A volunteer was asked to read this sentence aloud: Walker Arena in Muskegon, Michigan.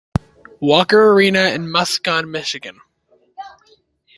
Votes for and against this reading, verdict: 0, 2, rejected